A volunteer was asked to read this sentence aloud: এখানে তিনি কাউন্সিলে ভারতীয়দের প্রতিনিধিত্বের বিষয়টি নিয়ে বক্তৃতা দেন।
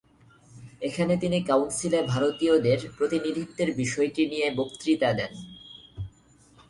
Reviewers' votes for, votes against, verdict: 2, 0, accepted